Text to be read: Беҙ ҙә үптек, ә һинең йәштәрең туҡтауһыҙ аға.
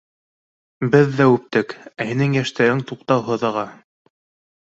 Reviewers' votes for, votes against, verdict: 2, 0, accepted